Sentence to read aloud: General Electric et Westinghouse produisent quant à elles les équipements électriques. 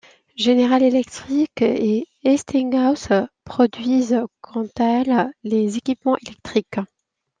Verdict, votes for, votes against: accepted, 2, 0